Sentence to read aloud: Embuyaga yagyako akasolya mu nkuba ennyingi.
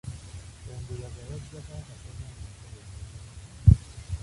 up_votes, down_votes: 0, 2